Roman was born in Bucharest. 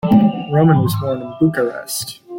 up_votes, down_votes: 0, 2